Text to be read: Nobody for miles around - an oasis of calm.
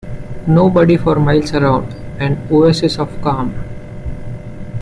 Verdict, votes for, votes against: accepted, 2, 0